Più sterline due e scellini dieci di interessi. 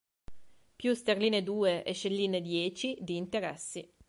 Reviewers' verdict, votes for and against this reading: accepted, 2, 0